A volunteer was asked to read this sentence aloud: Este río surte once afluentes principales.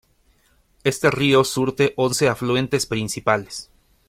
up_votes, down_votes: 2, 0